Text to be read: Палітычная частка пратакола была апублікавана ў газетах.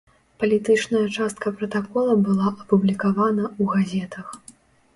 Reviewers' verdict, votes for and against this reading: rejected, 0, 2